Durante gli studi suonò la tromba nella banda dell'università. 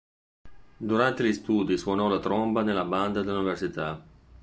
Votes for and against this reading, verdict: 1, 2, rejected